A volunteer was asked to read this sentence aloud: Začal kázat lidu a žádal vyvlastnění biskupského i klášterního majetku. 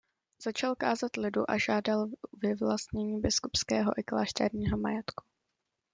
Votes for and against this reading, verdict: 2, 1, accepted